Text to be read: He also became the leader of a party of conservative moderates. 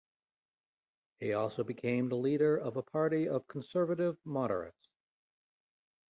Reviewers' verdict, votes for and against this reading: rejected, 1, 2